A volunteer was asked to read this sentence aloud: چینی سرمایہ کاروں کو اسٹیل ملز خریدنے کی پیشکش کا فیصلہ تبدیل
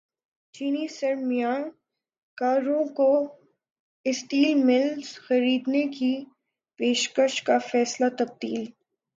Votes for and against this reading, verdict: 0, 3, rejected